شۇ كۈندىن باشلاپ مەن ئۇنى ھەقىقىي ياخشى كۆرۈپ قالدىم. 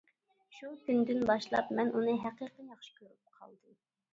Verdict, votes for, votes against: rejected, 1, 2